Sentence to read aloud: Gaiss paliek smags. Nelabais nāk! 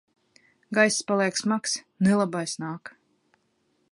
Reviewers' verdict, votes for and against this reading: accepted, 2, 0